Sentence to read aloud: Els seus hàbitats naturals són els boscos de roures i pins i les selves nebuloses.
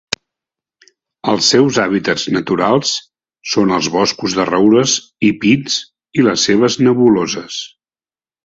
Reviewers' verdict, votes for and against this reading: accepted, 2, 0